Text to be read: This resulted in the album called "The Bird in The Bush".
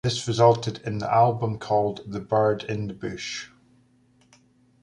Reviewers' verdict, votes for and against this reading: accepted, 2, 0